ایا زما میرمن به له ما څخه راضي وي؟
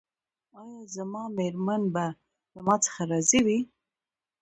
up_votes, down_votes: 2, 1